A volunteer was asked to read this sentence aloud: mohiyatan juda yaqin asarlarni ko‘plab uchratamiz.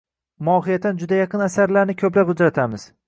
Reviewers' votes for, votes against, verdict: 2, 0, accepted